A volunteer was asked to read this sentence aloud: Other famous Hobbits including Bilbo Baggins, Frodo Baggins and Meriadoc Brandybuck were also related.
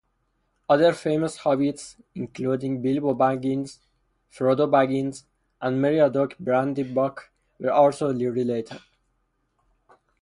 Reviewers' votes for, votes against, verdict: 2, 2, rejected